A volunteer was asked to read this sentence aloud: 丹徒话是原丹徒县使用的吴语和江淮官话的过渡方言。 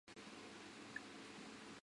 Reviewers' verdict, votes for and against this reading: rejected, 0, 2